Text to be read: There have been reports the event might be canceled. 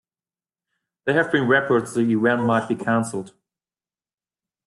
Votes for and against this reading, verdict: 0, 2, rejected